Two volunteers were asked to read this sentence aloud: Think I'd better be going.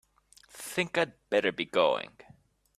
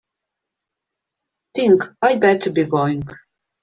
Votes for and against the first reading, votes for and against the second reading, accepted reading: 2, 0, 2, 3, first